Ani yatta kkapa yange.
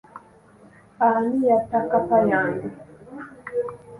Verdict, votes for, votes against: accepted, 2, 1